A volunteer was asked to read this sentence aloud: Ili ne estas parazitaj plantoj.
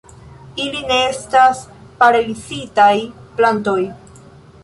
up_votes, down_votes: 1, 2